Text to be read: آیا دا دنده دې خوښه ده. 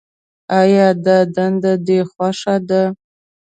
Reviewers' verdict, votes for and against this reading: accepted, 2, 0